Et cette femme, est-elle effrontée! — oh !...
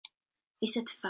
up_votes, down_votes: 0, 2